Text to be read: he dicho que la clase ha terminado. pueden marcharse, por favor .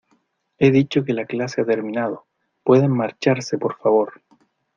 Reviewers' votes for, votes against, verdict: 2, 0, accepted